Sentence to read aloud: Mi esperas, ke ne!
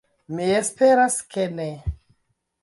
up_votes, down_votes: 2, 0